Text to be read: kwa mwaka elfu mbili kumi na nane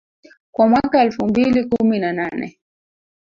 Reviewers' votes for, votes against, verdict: 0, 2, rejected